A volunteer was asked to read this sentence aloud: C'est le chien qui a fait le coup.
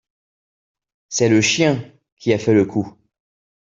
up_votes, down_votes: 2, 0